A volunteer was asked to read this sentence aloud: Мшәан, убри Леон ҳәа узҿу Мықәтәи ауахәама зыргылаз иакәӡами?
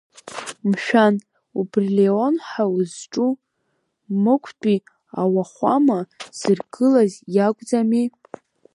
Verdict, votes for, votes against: accepted, 3, 0